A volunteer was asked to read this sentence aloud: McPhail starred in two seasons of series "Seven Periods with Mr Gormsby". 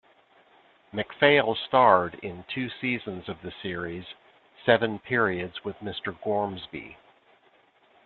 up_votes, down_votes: 0, 2